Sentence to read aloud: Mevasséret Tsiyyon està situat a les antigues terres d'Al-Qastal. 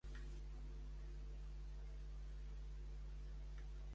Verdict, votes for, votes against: rejected, 0, 2